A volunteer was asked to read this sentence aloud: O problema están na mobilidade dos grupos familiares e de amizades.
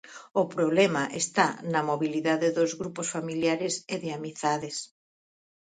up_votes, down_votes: 0, 2